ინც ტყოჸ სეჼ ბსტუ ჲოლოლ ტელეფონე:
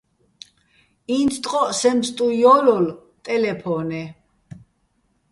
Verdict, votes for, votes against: rejected, 1, 2